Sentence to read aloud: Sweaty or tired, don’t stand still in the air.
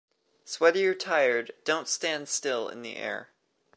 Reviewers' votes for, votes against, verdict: 2, 0, accepted